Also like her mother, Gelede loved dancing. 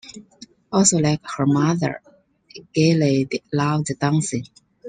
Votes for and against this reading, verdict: 2, 0, accepted